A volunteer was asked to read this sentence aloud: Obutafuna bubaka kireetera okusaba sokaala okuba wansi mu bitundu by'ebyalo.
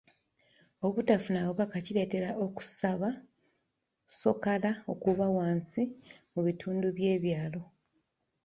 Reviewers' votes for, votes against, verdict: 0, 2, rejected